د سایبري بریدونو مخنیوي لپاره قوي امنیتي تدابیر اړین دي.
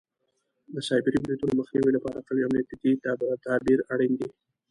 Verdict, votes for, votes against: rejected, 1, 2